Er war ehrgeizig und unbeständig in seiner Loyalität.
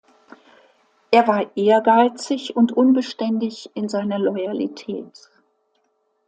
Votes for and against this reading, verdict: 2, 0, accepted